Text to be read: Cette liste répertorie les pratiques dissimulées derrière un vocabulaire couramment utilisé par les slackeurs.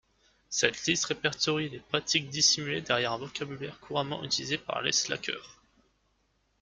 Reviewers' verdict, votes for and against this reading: accepted, 2, 0